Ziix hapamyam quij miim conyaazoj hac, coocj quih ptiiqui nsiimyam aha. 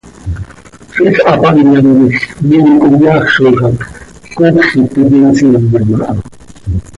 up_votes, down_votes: 2, 0